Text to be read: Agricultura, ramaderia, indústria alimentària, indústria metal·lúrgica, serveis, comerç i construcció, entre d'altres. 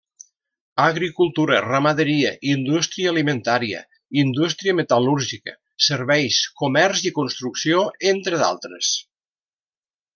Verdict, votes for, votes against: accepted, 3, 0